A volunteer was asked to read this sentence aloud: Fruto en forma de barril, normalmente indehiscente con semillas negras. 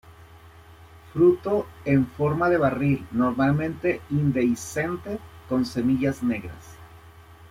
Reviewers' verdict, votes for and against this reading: accepted, 2, 0